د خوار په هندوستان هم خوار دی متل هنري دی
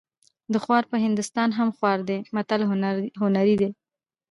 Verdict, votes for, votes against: accepted, 2, 0